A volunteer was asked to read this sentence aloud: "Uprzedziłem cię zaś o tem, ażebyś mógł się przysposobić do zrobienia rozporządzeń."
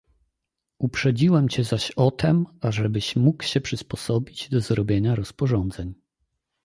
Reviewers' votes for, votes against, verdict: 2, 0, accepted